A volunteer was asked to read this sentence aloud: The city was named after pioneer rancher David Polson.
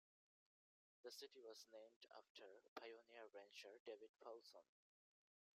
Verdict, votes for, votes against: accepted, 2, 0